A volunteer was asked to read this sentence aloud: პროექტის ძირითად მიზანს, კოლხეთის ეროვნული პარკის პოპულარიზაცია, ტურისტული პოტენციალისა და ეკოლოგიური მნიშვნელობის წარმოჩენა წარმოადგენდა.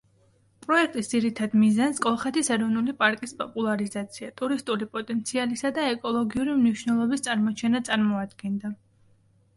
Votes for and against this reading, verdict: 2, 0, accepted